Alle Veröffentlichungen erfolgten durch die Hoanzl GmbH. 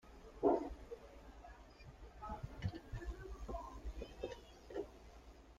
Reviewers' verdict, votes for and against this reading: rejected, 0, 2